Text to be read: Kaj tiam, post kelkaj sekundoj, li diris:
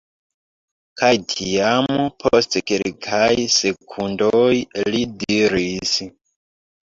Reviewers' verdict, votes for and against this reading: rejected, 0, 2